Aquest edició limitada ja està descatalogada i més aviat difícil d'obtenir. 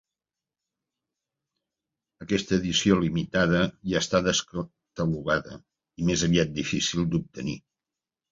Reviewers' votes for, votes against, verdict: 0, 2, rejected